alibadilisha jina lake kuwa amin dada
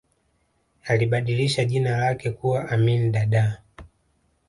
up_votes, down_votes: 2, 0